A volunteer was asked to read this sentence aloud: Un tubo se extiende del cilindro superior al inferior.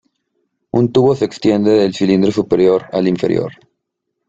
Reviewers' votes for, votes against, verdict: 2, 0, accepted